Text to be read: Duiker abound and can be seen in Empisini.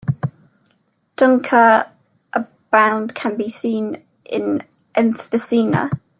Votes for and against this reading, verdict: 0, 2, rejected